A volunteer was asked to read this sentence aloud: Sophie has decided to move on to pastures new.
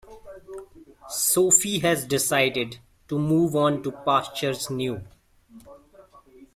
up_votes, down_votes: 2, 0